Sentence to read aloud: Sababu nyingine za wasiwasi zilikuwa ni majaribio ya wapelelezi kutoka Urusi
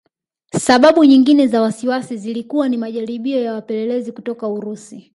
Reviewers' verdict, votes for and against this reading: accepted, 2, 0